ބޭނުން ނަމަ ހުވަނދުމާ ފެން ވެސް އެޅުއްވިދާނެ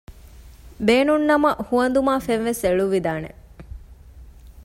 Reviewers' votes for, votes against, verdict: 2, 0, accepted